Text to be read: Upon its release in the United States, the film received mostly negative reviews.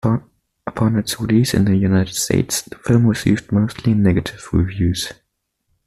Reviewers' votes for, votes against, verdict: 2, 1, accepted